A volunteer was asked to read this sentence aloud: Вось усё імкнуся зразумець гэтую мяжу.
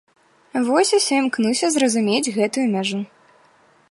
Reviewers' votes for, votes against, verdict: 2, 0, accepted